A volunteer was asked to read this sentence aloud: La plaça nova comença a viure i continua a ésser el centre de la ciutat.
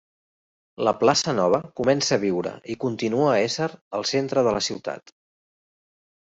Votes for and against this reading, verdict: 3, 0, accepted